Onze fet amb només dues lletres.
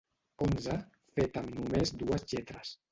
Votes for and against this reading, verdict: 0, 2, rejected